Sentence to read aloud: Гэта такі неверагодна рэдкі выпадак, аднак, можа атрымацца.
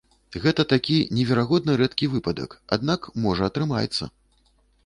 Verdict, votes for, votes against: rejected, 1, 2